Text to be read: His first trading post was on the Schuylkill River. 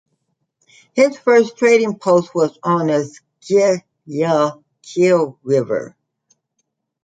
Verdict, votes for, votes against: rejected, 0, 2